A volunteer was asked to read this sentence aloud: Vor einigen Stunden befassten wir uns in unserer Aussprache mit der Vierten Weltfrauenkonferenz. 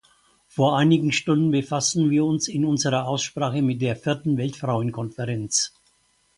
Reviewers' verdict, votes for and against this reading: accepted, 4, 0